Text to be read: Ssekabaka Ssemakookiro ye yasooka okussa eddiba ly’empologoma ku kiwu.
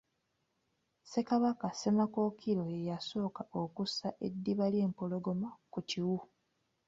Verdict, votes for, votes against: accepted, 2, 0